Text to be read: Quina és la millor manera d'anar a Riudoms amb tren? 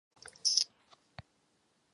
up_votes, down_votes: 0, 4